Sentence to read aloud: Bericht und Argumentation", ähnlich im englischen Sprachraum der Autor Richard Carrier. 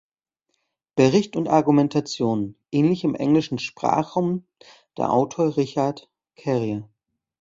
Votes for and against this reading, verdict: 0, 2, rejected